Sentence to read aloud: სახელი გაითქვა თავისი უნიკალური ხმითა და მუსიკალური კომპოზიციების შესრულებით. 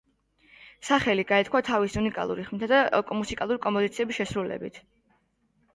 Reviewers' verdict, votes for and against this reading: accepted, 2, 1